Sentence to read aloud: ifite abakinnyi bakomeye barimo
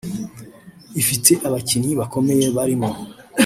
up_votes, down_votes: 2, 0